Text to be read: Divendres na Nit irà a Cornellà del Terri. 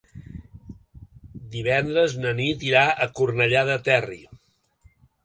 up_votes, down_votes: 0, 2